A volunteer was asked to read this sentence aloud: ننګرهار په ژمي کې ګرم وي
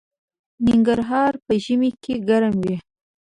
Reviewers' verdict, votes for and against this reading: rejected, 1, 2